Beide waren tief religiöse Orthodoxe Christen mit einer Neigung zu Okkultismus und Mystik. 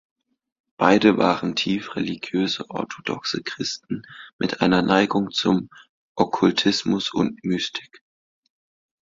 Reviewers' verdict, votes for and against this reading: rejected, 1, 2